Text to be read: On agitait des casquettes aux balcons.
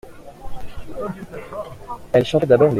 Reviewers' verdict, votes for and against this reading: rejected, 0, 2